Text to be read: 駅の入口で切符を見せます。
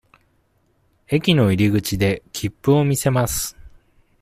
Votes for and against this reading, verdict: 2, 0, accepted